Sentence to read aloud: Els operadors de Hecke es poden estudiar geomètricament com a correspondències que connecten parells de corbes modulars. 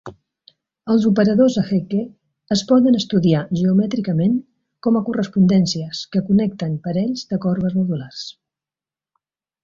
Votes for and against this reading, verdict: 2, 0, accepted